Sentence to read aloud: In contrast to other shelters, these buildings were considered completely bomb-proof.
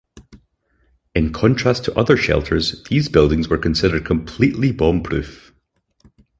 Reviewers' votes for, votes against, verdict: 6, 0, accepted